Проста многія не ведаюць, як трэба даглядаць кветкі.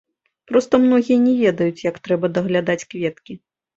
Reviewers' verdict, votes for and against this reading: accepted, 2, 0